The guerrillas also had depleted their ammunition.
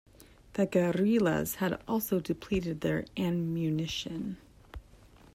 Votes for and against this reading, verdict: 2, 0, accepted